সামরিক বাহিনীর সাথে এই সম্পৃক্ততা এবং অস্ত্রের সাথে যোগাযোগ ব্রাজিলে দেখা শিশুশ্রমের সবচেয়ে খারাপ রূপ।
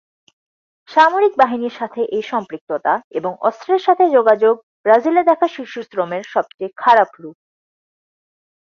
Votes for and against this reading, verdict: 2, 0, accepted